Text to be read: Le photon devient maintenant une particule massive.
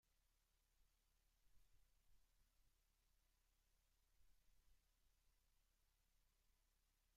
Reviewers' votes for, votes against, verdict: 0, 2, rejected